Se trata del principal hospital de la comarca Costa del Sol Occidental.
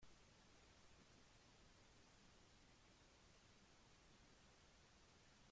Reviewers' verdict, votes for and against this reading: rejected, 0, 2